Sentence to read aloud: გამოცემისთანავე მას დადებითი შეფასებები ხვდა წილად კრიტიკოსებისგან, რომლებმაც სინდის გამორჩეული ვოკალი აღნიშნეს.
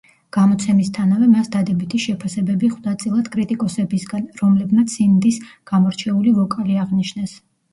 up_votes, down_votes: 0, 2